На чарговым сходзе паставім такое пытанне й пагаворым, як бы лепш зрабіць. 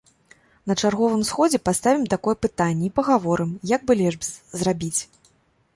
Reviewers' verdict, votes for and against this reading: accepted, 2, 0